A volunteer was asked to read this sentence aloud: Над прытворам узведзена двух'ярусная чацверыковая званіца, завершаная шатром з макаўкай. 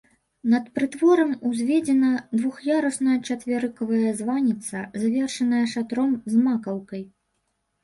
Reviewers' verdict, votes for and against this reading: rejected, 0, 2